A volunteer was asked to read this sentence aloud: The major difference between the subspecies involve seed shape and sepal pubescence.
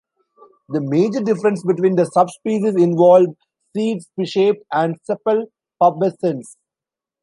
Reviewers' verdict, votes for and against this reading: accepted, 2, 1